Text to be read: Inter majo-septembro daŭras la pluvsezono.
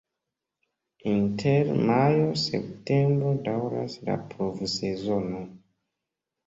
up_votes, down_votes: 2, 0